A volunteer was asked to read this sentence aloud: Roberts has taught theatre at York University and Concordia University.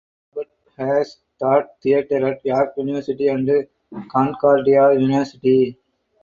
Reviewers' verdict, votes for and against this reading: rejected, 2, 4